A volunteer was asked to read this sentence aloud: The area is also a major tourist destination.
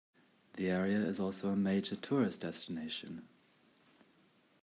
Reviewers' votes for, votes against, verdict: 2, 0, accepted